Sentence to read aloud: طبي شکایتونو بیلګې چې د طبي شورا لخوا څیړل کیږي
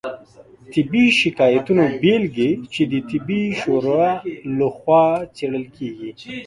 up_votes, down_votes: 2, 0